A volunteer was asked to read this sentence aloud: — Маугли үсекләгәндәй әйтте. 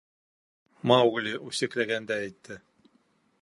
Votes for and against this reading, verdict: 2, 0, accepted